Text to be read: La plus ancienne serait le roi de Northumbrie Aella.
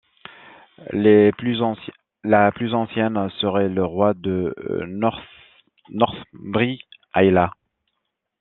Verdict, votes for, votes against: rejected, 0, 2